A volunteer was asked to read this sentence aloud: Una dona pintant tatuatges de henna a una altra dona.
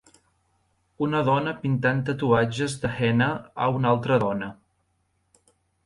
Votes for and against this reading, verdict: 4, 0, accepted